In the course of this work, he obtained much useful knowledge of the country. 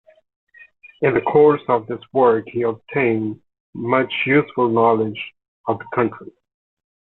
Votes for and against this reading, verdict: 2, 1, accepted